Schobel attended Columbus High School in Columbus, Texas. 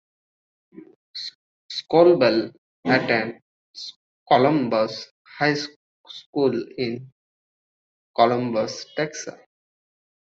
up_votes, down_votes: 1, 2